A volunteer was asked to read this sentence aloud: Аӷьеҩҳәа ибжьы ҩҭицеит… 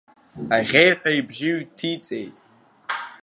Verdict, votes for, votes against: accepted, 2, 1